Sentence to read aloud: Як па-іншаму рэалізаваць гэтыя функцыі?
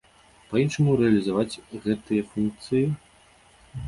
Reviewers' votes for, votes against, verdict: 0, 2, rejected